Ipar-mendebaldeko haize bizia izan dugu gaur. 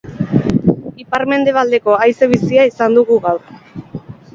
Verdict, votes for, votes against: accepted, 4, 0